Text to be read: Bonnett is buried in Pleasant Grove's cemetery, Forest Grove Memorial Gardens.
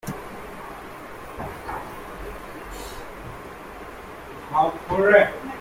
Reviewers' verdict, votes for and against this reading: rejected, 0, 2